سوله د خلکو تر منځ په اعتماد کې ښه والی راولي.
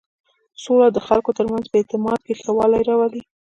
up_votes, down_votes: 0, 2